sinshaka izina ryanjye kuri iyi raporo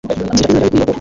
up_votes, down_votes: 1, 2